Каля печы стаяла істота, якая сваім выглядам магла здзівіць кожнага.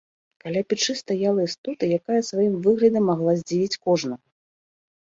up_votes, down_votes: 1, 2